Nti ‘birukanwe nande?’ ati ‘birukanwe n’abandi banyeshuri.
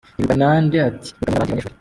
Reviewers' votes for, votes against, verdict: 0, 2, rejected